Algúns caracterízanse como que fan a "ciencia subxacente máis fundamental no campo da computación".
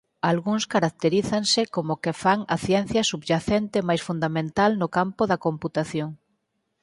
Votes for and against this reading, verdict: 0, 4, rejected